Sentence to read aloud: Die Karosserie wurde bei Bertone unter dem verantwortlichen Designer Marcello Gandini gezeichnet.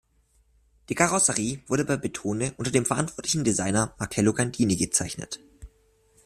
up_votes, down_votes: 0, 2